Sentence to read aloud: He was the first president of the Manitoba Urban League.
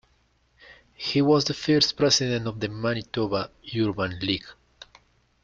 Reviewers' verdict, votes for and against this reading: accepted, 2, 0